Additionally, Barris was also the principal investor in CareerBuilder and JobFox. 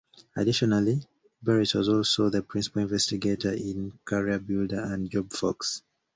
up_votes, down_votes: 1, 2